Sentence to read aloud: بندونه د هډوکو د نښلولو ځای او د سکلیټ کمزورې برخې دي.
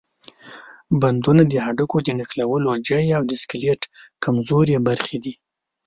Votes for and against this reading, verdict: 0, 2, rejected